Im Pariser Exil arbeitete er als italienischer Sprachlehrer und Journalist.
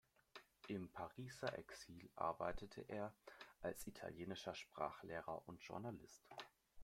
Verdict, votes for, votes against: accepted, 2, 1